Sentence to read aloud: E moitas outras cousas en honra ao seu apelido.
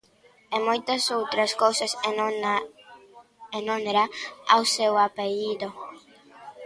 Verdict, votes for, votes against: rejected, 0, 2